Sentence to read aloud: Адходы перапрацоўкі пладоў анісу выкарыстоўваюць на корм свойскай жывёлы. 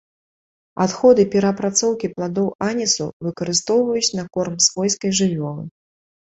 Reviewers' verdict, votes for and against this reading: rejected, 2, 3